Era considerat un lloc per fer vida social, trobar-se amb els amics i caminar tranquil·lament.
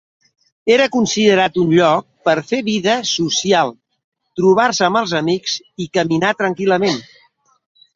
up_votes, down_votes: 2, 0